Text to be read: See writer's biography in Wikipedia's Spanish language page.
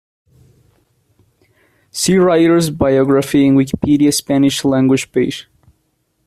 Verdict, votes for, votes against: rejected, 1, 2